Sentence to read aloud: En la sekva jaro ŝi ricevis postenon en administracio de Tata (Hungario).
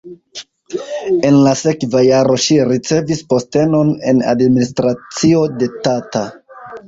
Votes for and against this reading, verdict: 1, 2, rejected